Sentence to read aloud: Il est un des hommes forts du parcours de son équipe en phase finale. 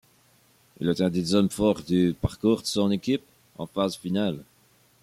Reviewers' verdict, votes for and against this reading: accepted, 2, 0